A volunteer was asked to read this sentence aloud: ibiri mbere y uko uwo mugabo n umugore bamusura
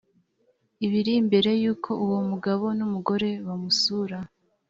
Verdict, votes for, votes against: accepted, 2, 0